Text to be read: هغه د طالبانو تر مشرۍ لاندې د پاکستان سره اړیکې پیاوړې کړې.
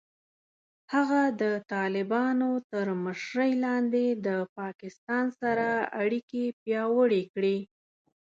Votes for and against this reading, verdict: 2, 0, accepted